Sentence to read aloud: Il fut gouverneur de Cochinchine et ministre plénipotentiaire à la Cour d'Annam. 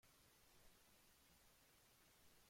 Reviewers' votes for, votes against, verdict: 0, 2, rejected